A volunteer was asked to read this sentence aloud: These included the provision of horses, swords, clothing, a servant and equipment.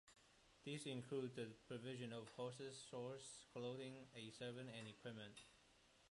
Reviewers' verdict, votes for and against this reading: rejected, 1, 2